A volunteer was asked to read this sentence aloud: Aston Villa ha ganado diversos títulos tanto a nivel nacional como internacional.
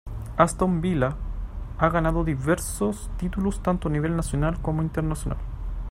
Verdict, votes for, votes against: accepted, 2, 0